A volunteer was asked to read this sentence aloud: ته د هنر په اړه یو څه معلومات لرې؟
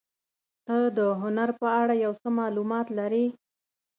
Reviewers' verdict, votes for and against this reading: accepted, 3, 0